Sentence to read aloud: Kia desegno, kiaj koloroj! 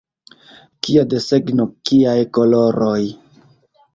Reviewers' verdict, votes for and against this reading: accepted, 2, 1